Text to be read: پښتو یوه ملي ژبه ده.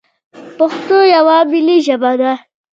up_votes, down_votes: 1, 2